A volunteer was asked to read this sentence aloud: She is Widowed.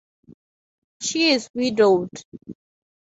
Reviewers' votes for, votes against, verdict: 4, 0, accepted